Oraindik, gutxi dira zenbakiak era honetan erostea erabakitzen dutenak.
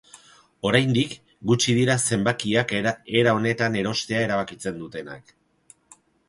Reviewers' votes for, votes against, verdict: 2, 2, rejected